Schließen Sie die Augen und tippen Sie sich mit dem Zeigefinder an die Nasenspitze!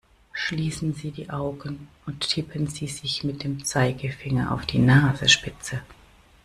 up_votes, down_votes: 1, 2